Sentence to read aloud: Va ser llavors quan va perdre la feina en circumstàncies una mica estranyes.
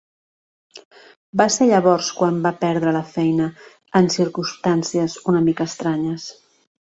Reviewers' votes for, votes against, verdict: 1, 2, rejected